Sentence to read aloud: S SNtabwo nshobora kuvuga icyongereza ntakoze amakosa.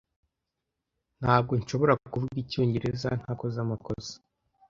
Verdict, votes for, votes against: accepted, 2, 0